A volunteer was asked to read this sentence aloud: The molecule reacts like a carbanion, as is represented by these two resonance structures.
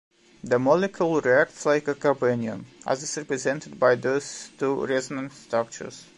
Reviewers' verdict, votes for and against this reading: rejected, 1, 2